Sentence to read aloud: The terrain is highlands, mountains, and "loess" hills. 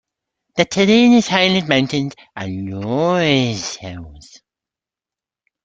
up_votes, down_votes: 0, 3